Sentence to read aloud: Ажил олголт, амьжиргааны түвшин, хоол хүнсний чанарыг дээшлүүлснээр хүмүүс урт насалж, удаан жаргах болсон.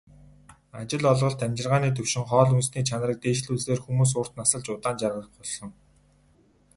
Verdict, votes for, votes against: rejected, 2, 2